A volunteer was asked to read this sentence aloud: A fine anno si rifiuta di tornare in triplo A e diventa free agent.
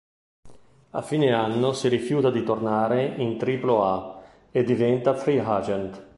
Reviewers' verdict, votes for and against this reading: accepted, 2, 0